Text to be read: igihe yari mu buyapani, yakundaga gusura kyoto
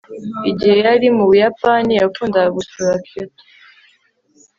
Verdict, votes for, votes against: accepted, 2, 0